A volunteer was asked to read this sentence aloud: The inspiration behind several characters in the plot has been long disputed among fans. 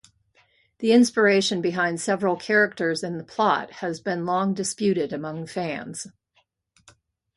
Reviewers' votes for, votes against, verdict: 2, 0, accepted